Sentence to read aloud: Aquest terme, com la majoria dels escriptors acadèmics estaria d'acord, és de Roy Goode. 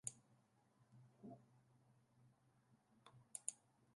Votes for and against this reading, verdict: 0, 2, rejected